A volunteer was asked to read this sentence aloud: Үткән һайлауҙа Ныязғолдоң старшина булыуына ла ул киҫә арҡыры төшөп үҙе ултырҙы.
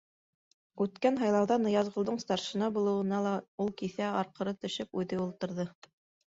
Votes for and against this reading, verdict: 1, 2, rejected